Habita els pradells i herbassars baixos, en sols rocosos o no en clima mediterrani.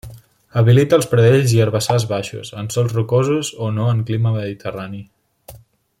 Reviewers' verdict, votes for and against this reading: rejected, 1, 2